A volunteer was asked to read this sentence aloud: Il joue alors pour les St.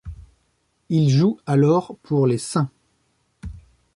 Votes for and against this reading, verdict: 0, 2, rejected